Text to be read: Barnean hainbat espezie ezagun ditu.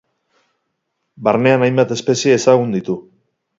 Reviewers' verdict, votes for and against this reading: accepted, 6, 0